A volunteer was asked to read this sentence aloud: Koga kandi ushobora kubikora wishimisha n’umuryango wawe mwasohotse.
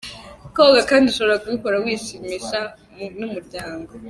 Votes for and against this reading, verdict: 0, 2, rejected